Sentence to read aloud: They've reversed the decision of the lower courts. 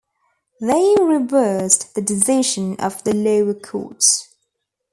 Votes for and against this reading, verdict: 1, 2, rejected